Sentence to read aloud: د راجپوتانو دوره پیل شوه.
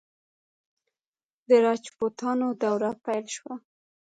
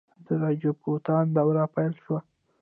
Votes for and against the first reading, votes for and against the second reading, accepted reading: 0, 2, 2, 0, second